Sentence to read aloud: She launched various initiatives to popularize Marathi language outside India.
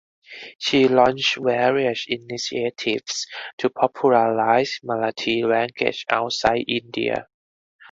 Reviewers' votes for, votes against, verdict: 4, 2, accepted